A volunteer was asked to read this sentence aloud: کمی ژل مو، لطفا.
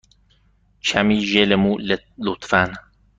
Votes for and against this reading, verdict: 1, 2, rejected